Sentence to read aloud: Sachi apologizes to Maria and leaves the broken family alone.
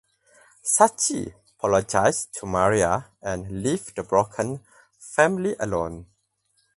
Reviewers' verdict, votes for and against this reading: rejected, 0, 4